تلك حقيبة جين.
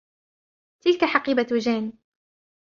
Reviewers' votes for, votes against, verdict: 1, 2, rejected